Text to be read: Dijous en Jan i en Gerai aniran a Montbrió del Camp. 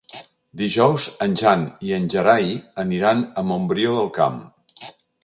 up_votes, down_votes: 3, 0